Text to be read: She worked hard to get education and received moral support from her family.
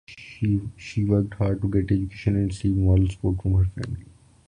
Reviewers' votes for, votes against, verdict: 0, 2, rejected